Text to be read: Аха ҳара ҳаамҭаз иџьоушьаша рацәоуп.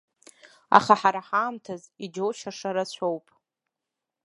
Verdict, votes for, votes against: accepted, 2, 0